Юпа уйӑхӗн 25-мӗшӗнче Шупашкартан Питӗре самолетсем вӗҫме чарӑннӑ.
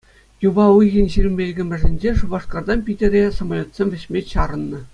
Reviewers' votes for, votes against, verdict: 0, 2, rejected